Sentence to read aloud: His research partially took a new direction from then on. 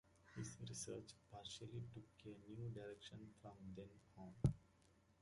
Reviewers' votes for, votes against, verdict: 2, 0, accepted